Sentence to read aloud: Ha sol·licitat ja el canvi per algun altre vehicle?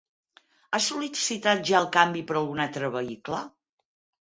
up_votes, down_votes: 2, 4